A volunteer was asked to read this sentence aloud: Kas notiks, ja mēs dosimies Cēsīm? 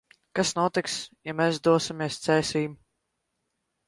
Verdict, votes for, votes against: rejected, 1, 2